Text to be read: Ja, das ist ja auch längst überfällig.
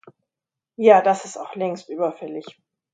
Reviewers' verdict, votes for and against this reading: rejected, 0, 2